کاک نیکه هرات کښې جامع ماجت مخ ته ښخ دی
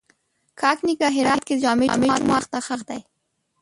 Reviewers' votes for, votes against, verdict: 1, 2, rejected